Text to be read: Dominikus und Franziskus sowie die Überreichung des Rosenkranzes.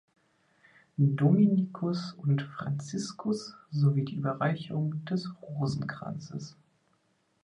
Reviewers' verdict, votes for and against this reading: accepted, 2, 0